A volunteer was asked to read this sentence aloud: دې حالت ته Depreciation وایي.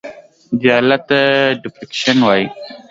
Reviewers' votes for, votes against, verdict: 2, 0, accepted